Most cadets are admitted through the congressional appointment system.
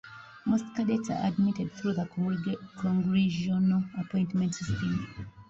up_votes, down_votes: 1, 2